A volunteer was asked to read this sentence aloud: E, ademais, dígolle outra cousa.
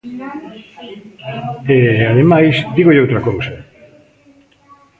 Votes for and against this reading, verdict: 1, 2, rejected